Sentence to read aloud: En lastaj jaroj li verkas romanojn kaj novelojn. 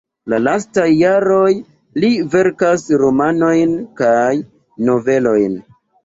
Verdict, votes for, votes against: rejected, 1, 2